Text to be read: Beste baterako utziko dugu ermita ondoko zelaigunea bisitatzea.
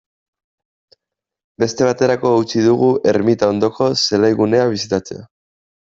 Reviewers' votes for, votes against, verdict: 1, 2, rejected